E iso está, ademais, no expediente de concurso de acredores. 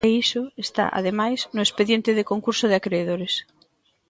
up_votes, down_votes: 2, 1